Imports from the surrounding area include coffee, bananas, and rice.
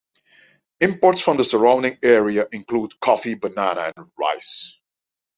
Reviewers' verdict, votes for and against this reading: rejected, 0, 2